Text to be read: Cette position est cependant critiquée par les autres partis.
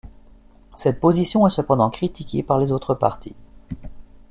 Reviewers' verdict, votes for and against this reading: accepted, 2, 0